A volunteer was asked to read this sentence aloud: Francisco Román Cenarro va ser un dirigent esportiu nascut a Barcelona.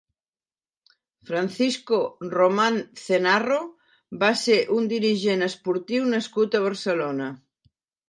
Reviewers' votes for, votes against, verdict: 2, 0, accepted